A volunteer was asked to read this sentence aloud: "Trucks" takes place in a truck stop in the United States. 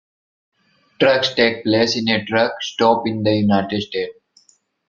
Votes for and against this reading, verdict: 0, 2, rejected